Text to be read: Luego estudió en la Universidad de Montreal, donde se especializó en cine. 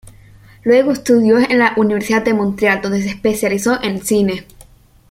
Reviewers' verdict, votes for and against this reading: accepted, 2, 0